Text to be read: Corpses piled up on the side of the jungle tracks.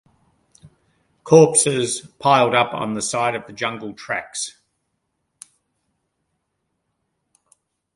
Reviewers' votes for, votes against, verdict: 2, 0, accepted